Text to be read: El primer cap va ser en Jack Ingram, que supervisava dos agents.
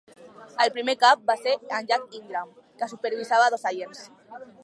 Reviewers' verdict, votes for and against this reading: rejected, 0, 2